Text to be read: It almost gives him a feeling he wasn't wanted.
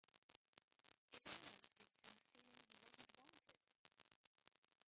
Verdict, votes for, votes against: rejected, 0, 2